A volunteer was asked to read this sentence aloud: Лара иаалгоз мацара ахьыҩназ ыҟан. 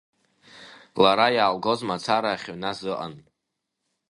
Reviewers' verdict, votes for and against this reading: accepted, 2, 1